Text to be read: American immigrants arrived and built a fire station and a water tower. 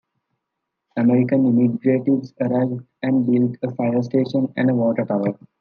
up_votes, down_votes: 2, 1